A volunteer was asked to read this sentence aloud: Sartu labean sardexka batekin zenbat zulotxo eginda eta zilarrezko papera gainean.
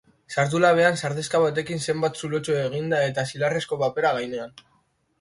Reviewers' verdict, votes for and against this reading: accepted, 2, 0